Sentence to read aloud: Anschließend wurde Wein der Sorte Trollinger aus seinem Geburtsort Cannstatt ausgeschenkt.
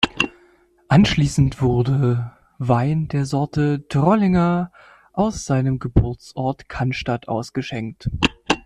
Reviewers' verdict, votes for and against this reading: accepted, 2, 0